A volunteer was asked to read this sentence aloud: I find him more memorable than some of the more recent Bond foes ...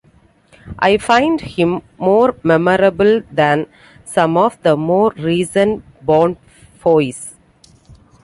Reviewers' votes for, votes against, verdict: 2, 0, accepted